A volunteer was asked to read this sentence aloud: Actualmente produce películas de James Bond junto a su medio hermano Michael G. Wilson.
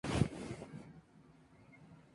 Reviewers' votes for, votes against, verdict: 0, 2, rejected